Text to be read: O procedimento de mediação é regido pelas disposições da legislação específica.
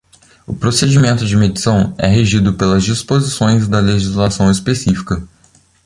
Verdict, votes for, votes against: rejected, 0, 2